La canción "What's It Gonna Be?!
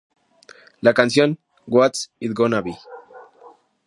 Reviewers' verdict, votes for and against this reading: accepted, 2, 0